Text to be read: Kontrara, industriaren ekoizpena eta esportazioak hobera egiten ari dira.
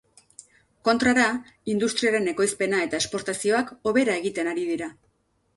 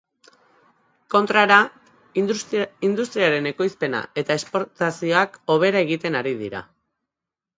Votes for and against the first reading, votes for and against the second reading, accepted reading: 2, 0, 0, 2, first